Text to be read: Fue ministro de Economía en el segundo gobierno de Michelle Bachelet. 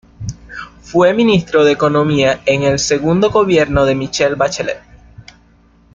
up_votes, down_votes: 2, 0